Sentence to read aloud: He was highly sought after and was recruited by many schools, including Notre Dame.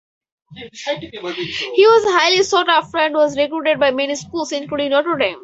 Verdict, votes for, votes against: accepted, 4, 0